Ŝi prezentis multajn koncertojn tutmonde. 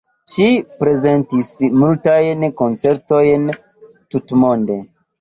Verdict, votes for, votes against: accepted, 3, 0